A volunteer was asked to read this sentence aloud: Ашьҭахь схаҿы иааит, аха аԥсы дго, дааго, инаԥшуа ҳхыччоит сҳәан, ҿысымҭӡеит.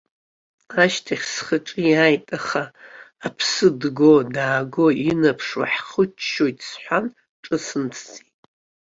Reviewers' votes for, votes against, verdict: 2, 0, accepted